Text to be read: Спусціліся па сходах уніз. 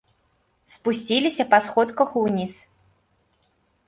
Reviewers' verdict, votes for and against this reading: rejected, 1, 2